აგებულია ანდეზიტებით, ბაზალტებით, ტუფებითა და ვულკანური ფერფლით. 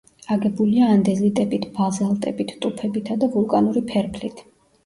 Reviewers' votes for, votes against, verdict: 0, 2, rejected